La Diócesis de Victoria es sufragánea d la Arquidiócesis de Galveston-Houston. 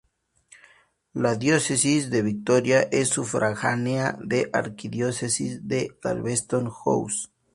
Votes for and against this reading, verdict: 0, 2, rejected